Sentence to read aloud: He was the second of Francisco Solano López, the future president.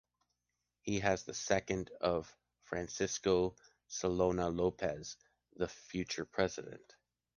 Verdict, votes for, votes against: rejected, 1, 2